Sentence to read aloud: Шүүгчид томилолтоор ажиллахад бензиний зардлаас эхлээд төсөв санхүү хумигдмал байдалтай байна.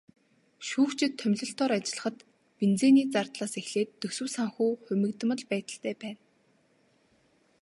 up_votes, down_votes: 2, 0